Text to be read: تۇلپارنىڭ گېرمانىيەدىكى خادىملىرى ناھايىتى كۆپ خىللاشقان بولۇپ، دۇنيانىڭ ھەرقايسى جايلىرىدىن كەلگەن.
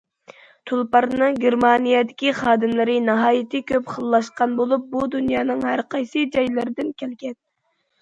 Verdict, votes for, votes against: rejected, 0, 2